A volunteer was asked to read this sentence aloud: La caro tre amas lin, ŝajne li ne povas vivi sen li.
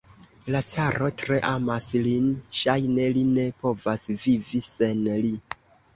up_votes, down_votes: 1, 2